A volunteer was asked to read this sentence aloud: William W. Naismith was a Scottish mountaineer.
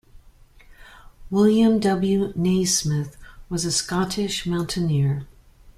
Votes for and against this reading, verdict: 2, 0, accepted